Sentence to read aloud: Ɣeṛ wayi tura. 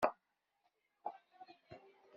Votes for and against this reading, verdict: 1, 2, rejected